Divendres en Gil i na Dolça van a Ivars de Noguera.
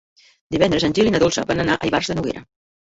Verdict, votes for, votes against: rejected, 1, 2